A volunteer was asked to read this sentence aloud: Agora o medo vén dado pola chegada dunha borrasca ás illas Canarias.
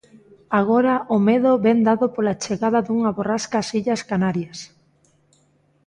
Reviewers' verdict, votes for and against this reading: accepted, 2, 0